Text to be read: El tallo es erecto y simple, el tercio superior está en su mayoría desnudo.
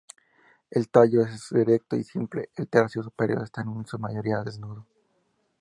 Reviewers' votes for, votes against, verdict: 2, 0, accepted